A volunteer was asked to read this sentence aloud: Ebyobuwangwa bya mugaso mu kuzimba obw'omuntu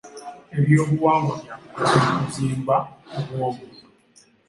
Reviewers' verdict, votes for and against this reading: accepted, 2, 0